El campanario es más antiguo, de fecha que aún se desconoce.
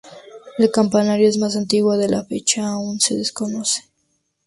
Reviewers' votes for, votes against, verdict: 2, 0, accepted